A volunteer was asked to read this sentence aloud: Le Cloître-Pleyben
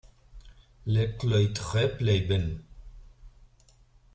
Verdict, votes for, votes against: rejected, 0, 2